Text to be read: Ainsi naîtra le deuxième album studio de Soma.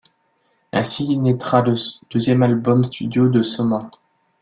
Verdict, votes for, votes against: rejected, 1, 2